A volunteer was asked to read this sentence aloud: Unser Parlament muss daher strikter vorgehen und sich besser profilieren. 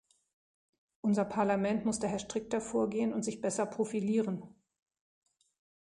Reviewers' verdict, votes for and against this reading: accepted, 2, 0